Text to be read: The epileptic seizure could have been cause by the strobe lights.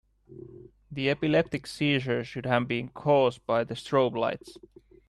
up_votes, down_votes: 1, 2